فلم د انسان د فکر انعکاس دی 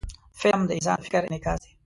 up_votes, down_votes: 0, 2